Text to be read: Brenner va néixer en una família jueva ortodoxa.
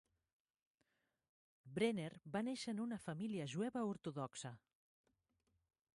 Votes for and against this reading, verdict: 6, 0, accepted